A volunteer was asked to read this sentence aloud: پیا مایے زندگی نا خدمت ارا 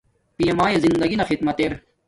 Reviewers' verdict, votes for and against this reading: rejected, 1, 2